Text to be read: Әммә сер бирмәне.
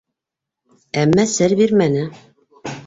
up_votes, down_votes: 3, 0